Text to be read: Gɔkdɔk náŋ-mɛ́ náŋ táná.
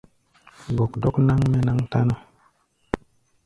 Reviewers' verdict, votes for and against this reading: accepted, 2, 0